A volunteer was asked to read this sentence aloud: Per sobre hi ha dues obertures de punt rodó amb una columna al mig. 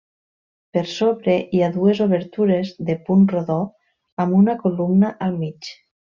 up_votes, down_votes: 1, 2